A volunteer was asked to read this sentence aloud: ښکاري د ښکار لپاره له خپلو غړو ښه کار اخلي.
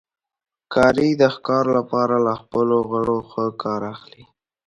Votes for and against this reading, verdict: 2, 0, accepted